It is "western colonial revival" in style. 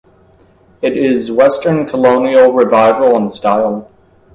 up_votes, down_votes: 2, 0